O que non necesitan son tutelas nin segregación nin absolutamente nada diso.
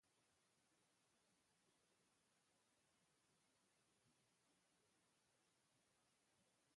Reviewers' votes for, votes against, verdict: 0, 2, rejected